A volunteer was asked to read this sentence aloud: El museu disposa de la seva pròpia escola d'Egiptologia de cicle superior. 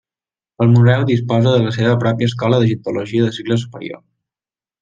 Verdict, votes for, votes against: rejected, 1, 2